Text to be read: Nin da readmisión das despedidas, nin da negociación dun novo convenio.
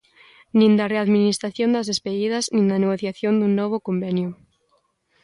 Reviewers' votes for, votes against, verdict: 0, 2, rejected